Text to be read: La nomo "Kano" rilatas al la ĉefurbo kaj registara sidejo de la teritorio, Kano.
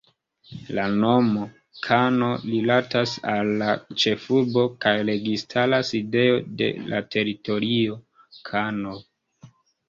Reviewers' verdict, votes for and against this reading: rejected, 1, 2